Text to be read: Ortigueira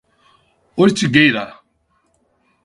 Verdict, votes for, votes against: accepted, 4, 0